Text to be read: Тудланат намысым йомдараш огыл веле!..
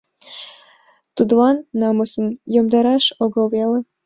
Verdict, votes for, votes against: accepted, 2, 1